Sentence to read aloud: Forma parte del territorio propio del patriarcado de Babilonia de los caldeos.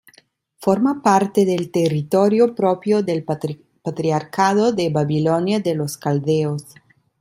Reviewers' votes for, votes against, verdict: 0, 2, rejected